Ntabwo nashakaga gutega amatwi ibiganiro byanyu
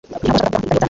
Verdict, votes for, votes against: rejected, 0, 2